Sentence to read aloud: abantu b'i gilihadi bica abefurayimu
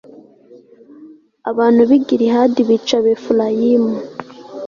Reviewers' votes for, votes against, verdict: 2, 0, accepted